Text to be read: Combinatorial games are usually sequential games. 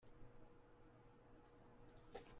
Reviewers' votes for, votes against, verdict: 0, 2, rejected